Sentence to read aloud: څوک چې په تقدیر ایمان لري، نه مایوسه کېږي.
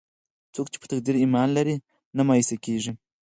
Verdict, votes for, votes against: rejected, 0, 4